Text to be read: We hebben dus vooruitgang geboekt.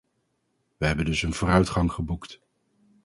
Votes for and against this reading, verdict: 0, 2, rejected